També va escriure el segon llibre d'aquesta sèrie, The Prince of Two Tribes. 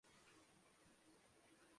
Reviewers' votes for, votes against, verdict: 0, 2, rejected